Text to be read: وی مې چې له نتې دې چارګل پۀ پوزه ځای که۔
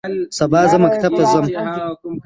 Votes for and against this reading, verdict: 0, 2, rejected